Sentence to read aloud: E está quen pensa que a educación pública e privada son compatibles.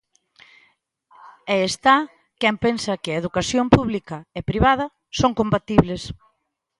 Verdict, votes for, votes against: accepted, 2, 0